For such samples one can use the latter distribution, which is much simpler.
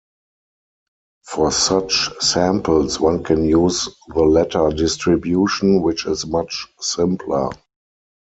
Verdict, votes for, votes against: accepted, 4, 0